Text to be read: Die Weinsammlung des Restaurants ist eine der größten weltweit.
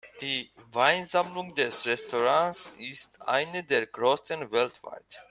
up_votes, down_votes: 0, 2